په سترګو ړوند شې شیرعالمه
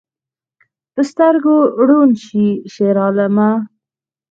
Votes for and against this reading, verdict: 4, 0, accepted